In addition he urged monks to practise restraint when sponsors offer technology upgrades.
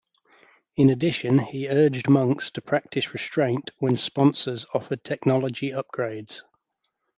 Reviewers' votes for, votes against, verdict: 2, 0, accepted